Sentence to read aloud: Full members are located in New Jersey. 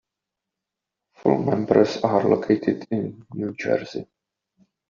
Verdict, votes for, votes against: rejected, 0, 2